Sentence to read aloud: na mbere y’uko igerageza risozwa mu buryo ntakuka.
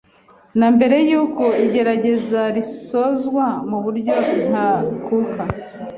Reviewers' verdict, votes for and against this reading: accepted, 2, 0